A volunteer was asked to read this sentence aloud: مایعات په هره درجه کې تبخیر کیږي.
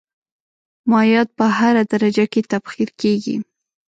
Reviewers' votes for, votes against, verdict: 2, 0, accepted